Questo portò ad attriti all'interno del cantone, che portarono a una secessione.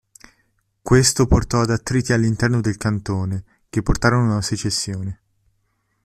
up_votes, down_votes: 2, 0